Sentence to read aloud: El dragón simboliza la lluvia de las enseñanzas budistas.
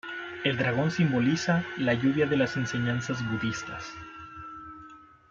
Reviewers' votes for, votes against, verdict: 0, 2, rejected